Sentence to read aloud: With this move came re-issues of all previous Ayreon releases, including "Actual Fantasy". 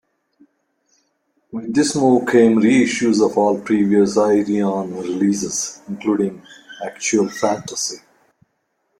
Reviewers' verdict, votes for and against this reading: accepted, 2, 1